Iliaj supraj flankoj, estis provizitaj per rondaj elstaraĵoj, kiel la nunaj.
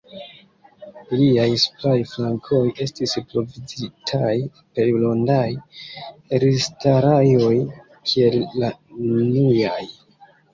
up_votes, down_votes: 0, 2